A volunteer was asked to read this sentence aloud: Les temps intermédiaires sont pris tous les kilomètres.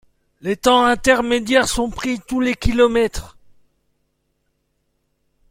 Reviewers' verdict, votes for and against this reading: accepted, 2, 0